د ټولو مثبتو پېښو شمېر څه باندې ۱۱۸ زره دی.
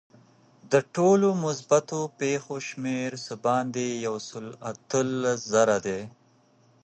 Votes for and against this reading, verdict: 0, 2, rejected